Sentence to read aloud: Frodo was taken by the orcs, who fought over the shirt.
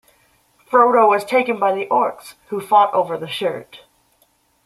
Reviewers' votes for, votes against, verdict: 2, 0, accepted